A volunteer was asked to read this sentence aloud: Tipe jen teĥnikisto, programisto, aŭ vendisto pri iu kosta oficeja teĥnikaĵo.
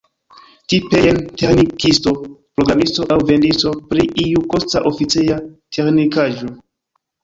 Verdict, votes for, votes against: rejected, 0, 2